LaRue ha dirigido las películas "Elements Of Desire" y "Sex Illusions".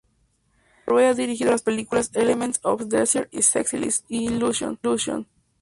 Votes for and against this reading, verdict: 0, 2, rejected